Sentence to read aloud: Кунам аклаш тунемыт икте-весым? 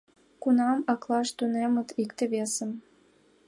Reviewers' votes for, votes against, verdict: 2, 0, accepted